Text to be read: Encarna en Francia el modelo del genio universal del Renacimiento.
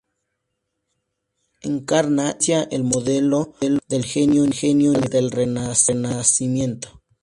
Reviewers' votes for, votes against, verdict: 0, 2, rejected